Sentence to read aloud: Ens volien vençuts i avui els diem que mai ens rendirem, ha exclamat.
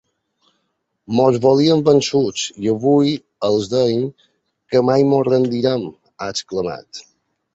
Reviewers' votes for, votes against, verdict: 1, 3, rejected